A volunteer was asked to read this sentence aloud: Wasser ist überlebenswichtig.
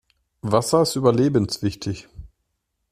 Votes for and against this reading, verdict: 2, 0, accepted